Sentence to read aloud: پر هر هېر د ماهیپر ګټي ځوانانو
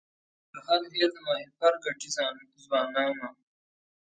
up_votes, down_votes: 1, 2